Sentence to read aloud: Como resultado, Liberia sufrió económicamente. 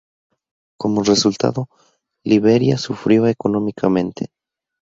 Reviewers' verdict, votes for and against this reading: rejected, 2, 2